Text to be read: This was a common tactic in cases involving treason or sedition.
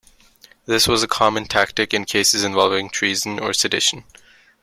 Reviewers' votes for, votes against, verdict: 2, 1, accepted